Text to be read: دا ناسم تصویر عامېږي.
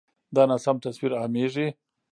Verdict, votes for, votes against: accepted, 2, 1